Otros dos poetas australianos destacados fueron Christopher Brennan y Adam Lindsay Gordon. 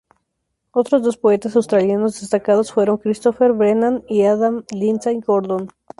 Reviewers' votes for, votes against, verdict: 2, 0, accepted